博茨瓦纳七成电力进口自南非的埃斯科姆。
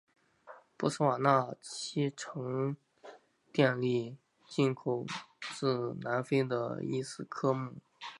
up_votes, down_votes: 1, 4